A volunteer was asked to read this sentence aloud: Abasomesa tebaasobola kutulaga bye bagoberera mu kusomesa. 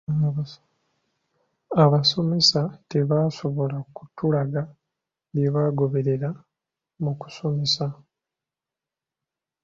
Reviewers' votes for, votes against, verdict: 2, 1, accepted